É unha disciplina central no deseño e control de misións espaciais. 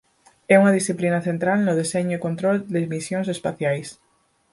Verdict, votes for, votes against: accepted, 4, 0